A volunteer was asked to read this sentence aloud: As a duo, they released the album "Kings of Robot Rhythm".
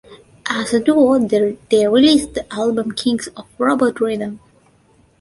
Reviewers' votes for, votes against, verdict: 0, 2, rejected